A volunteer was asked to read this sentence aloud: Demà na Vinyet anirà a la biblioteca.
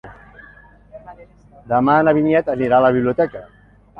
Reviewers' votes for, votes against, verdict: 4, 0, accepted